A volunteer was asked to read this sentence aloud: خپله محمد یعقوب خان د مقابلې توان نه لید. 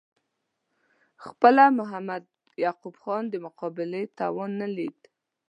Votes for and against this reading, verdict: 2, 0, accepted